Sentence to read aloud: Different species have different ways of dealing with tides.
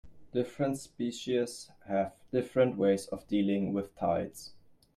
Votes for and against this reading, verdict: 2, 0, accepted